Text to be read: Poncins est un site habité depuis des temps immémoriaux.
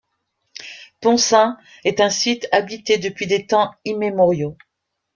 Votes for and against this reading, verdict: 2, 1, accepted